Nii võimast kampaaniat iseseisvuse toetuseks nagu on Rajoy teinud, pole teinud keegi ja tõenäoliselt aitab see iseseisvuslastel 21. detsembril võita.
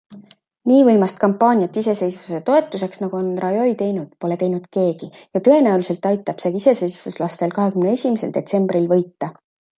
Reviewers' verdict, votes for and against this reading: rejected, 0, 2